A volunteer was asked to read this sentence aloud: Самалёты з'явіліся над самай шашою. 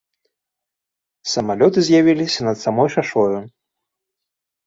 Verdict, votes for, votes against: rejected, 0, 2